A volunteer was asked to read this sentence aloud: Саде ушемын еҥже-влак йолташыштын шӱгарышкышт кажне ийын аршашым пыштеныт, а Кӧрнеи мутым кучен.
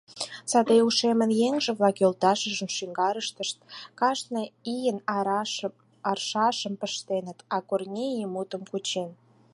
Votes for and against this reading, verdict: 0, 4, rejected